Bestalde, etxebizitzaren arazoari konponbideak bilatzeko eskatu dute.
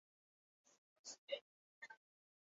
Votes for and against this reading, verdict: 0, 4, rejected